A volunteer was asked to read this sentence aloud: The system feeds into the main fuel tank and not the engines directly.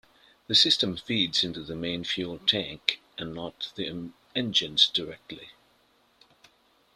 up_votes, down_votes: 1, 2